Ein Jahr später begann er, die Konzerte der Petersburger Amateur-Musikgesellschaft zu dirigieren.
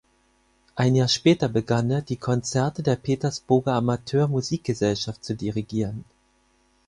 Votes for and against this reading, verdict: 4, 0, accepted